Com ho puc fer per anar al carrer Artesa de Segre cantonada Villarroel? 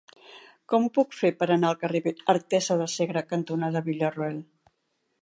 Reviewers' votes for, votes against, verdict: 2, 1, accepted